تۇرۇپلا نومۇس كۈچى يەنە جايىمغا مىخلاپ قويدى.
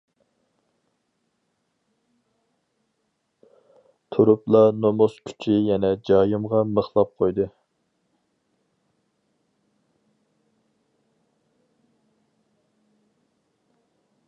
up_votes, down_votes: 4, 0